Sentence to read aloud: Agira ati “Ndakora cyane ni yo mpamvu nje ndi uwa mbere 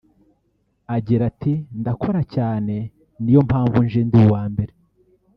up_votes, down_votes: 1, 2